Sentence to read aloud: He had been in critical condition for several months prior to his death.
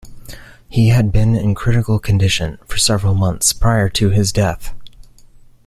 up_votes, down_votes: 2, 0